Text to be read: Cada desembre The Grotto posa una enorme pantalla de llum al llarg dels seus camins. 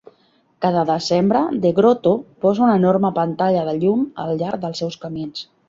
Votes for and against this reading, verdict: 2, 0, accepted